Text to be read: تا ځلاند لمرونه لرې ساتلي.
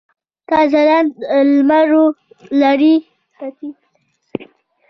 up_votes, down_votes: 0, 2